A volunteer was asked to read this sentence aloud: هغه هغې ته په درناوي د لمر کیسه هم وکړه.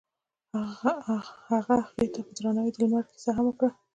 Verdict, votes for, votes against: rejected, 0, 2